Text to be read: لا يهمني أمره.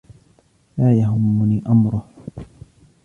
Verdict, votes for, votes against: accepted, 2, 0